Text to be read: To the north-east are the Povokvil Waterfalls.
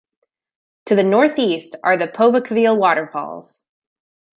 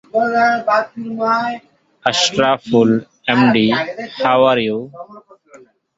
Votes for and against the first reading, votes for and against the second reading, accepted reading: 2, 0, 0, 2, first